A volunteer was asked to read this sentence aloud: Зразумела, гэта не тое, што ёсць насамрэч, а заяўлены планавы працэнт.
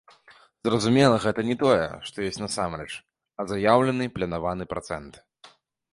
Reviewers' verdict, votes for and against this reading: rejected, 0, 2